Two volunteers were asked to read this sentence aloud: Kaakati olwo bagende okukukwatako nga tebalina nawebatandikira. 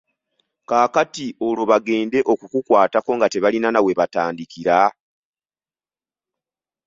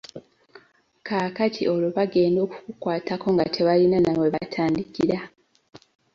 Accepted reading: first